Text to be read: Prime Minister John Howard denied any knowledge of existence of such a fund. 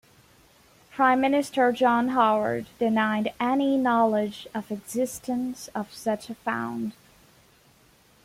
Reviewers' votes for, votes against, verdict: 2, 0, accepted